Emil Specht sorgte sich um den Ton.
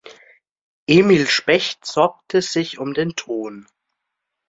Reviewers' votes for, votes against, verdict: 3, 0, accepted